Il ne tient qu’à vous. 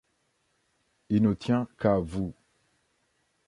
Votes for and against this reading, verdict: 2, 0, accepted